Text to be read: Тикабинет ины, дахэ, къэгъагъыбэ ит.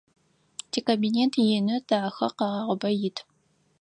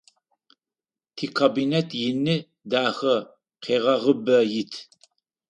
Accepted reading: first